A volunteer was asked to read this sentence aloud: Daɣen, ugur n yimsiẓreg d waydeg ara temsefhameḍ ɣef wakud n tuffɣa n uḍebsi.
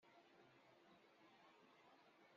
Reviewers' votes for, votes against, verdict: 1, 2, rejected